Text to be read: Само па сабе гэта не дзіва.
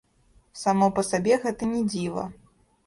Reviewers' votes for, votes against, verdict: 0, 2, rejected